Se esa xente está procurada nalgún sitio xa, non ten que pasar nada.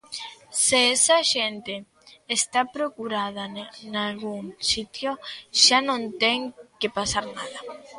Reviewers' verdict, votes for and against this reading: rejected, 1, 2